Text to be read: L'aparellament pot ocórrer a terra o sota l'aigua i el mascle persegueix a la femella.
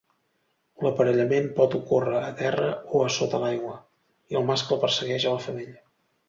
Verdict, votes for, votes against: rejected, 0, 2